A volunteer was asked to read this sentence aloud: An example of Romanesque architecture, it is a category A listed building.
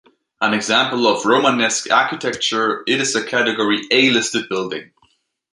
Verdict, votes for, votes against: accepted, 3, 1